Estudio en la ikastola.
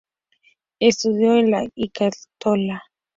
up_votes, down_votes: 0, 2